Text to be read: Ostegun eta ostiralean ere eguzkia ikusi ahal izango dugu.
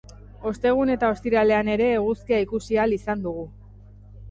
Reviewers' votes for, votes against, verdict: 0, 2, rejected